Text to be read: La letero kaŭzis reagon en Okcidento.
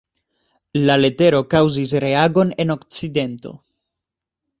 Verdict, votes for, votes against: accepted, 2, 0